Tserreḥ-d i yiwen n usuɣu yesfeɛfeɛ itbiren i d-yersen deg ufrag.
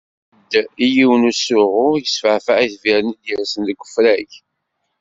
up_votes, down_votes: 1, 2